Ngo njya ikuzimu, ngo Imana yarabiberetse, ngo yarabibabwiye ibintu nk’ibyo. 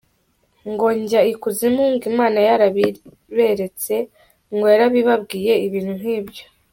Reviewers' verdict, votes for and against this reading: rejected, 0, 2